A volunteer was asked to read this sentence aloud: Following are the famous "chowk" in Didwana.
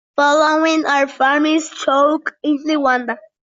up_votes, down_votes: 0, 2